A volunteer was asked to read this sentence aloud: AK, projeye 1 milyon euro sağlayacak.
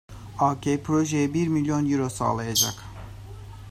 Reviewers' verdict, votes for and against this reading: rejected, 0, 2